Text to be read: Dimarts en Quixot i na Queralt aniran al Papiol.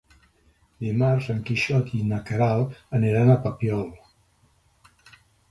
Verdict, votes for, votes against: accepted, 2, 0